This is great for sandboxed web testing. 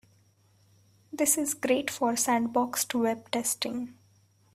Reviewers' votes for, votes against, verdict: 2, 0, accepted